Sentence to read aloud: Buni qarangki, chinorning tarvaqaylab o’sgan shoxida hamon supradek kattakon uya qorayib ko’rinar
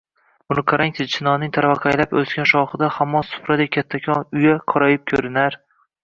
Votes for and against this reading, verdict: 1, 2, rejected